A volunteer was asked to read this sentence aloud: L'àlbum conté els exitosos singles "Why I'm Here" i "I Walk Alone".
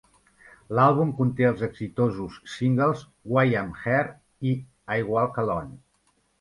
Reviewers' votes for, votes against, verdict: 1, 2, rejected